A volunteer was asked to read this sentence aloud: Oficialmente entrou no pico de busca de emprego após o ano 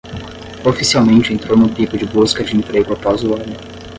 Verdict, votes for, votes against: rejected, 0, 5